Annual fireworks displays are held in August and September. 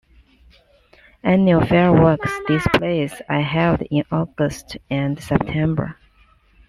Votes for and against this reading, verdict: 1, 2, rejected